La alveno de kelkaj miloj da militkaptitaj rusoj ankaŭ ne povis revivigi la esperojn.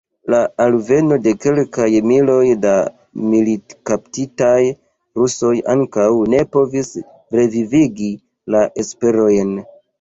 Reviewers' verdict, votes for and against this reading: accepted, 2, 1